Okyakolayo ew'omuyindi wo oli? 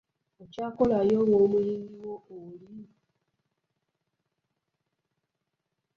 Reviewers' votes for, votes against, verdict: 2, 3, rejected